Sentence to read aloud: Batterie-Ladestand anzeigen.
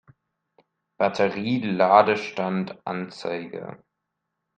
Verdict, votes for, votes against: rejected, 0, 2